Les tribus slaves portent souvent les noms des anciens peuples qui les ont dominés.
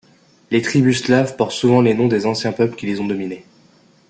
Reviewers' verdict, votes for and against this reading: rejected, 1, 2